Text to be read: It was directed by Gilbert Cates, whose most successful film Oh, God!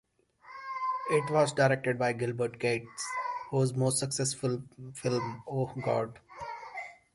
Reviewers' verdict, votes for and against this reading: accepted, 2, 0